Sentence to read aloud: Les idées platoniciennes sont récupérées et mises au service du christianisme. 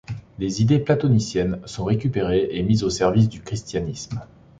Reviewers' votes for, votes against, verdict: 2, 0, accepted